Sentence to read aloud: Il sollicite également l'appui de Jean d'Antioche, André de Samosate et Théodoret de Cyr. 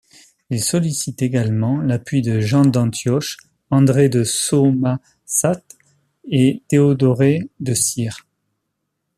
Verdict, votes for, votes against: rejected, 0, 2